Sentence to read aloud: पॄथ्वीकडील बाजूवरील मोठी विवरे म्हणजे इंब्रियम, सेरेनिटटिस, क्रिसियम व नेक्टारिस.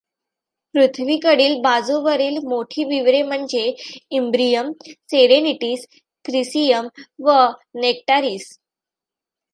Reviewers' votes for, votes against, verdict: 2, 0, accepted